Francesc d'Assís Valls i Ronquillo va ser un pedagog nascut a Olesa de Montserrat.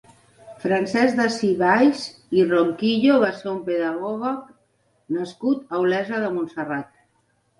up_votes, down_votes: 1, 6